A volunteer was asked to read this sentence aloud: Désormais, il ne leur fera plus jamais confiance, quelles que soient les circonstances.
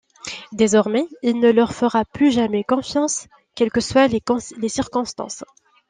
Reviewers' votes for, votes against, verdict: 0, 2, rejected